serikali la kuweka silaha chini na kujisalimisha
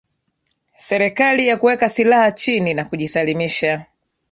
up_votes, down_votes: 1, 2